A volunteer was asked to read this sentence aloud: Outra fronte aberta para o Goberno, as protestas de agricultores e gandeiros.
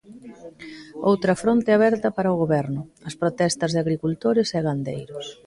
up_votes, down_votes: 1, 2